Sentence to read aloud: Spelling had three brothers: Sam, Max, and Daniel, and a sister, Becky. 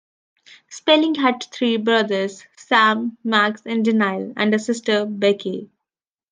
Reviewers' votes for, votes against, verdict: 0, 2, rejected